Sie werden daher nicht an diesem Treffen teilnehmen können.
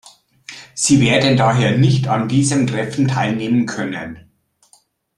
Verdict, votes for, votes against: accepted, 2, 0